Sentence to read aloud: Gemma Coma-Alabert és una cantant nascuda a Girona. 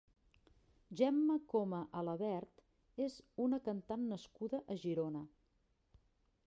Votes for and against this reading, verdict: 1, 2, rejected